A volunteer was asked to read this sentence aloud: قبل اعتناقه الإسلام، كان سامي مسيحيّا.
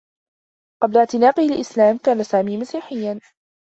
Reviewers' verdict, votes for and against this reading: accepted, 2, 0